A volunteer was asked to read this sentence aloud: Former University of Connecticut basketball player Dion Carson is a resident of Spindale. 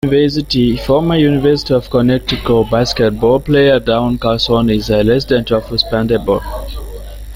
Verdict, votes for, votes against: rejected, 0, 3